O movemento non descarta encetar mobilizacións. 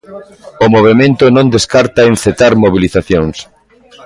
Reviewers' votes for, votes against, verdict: 0, 2, rejected